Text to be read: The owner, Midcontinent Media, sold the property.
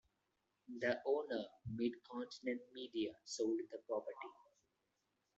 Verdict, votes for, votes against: rejected, 0, 2